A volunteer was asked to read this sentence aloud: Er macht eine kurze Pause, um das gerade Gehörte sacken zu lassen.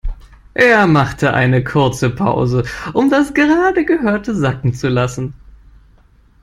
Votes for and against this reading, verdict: 1, 2, rejected